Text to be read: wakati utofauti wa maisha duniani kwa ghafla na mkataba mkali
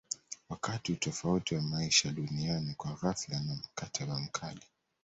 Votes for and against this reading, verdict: 0, 2, rejected